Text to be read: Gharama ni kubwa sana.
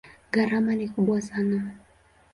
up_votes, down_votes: 2, 0